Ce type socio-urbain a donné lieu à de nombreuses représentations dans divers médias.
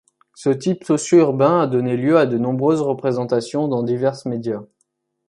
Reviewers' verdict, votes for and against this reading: rejected, 1, 2